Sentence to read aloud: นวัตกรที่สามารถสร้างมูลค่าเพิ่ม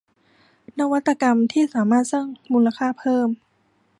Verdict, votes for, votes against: rejected, 1, 2